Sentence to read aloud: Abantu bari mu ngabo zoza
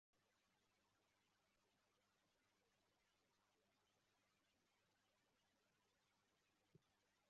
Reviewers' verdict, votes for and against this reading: rejected, 0, 2